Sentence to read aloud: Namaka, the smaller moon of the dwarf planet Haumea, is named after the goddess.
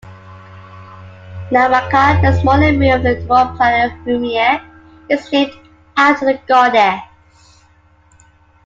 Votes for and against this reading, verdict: 1, 2, rejected